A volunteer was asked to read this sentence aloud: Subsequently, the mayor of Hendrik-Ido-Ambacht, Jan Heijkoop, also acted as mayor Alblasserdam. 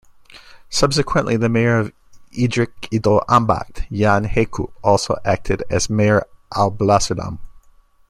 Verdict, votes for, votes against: rejected, 1, 2